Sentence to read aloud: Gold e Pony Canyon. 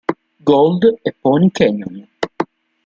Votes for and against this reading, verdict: 2, 0, accepted